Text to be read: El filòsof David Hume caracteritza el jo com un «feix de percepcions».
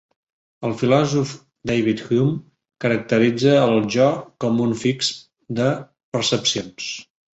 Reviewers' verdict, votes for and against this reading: rejected, 0, 2